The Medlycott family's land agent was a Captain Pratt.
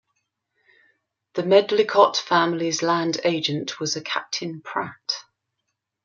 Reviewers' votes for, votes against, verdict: 3, 0, accepted